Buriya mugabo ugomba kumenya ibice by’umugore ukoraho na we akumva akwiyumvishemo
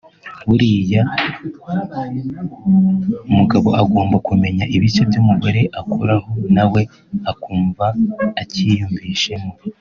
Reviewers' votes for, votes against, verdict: 1, 2, rejected